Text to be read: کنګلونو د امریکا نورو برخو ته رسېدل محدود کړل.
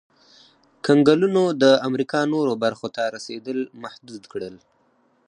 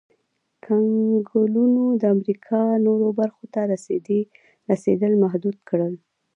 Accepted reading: second